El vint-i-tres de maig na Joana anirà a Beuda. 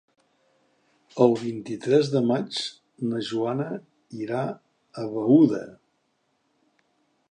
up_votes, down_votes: 0, 2